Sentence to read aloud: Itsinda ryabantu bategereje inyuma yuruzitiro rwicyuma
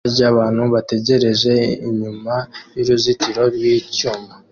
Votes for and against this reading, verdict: 0, 2, rejected